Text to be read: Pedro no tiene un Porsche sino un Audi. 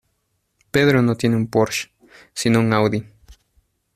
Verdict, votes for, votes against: accepted, 2, 0